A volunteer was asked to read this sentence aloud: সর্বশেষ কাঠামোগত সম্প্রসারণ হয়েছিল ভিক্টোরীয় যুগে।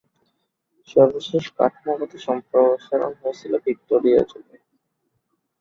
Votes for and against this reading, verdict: 5, 4, accepted